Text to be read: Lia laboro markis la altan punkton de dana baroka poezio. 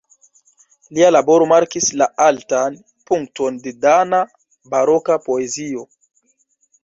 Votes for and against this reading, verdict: 1, 2, rejected